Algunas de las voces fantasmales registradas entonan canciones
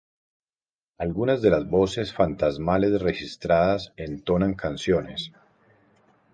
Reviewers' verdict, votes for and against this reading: accepted, 4, 0